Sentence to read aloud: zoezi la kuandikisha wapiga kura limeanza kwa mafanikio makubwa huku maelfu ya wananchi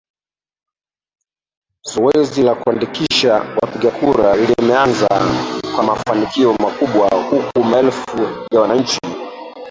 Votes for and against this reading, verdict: 0, 2, rejected